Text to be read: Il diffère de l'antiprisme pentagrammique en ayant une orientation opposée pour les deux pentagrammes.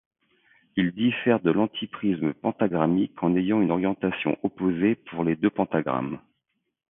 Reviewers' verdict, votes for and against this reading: accepted, 2, 0